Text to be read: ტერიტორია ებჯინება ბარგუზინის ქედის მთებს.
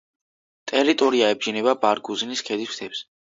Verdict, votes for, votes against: accepted, 2, 0